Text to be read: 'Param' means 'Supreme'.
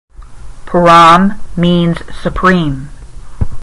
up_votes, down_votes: 5, 0